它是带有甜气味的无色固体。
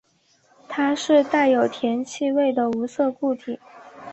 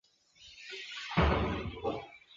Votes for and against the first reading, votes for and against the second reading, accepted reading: 2, 0, 1, 7, first